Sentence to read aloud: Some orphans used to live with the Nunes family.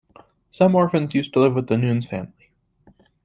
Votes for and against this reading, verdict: 2, 0, accepted